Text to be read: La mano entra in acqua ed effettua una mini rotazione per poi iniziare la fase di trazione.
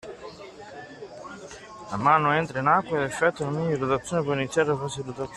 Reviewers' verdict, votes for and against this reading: rejected, 1, 2